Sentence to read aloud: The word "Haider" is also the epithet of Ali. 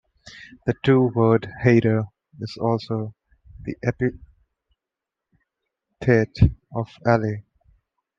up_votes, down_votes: 1, 2